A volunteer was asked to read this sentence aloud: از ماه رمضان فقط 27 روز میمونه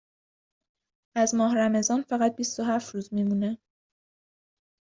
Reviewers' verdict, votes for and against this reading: rejected, 0, 2